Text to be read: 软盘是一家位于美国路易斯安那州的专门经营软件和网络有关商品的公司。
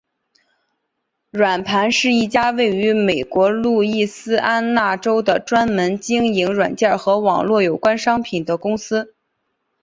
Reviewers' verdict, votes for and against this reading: accepted, 2, 1